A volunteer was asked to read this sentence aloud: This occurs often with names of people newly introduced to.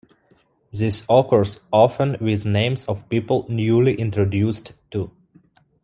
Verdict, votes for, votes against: accepted, 2, 0